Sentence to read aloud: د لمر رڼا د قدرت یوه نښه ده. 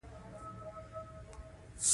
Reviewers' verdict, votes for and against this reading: accepted, 2, 1